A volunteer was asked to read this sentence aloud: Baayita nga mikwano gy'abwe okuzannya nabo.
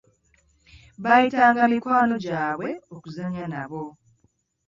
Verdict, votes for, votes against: accepted, 2, 0